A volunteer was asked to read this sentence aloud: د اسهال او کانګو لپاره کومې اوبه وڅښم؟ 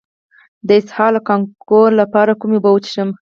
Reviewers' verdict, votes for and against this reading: rejected, 2, 4